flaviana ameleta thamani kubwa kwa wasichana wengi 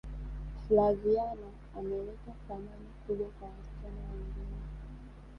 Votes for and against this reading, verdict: 1, 2, rejected